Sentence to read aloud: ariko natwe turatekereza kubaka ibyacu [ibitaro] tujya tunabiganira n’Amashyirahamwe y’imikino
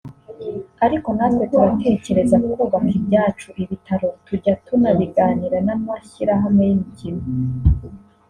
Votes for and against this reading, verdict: 1, 2, rejected